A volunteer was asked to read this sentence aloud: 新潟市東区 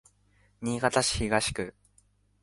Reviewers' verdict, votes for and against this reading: accepted, 2, 0